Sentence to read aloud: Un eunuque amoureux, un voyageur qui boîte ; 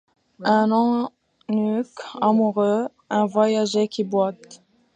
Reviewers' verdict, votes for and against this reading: rejected, 0, 2